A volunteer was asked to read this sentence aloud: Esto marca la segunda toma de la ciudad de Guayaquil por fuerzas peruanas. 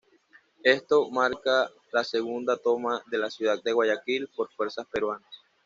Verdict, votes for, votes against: accepted, 2, 0